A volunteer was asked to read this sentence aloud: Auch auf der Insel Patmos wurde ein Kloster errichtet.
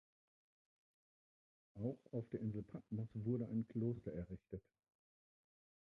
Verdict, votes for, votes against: rejected, 0, 2